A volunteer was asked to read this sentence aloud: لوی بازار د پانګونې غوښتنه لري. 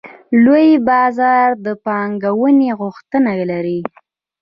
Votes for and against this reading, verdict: 2, 1, accepted